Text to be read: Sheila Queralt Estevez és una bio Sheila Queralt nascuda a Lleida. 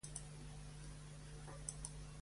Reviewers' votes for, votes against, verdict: 0, 2, rejected